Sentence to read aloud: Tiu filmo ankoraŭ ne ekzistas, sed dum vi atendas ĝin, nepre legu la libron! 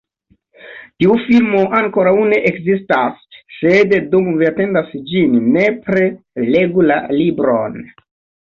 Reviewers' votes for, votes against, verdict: 2, 1, accepted